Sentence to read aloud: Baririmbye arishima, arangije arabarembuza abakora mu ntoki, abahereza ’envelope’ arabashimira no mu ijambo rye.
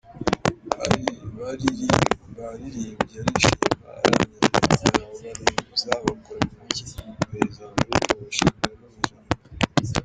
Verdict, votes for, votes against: rejected, 0, 3